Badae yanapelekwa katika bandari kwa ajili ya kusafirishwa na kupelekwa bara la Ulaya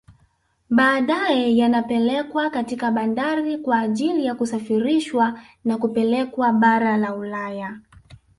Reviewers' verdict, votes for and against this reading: rejected, 1, 2